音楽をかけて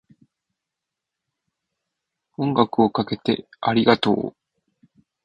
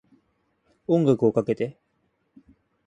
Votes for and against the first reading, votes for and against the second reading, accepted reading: 0, 3, 2, 0, second